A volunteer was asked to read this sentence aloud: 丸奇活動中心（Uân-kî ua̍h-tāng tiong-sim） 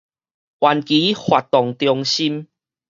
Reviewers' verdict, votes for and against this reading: rejected, 2, 2